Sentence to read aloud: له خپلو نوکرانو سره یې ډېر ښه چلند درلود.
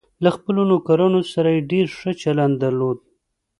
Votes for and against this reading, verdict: 2, 0, accepted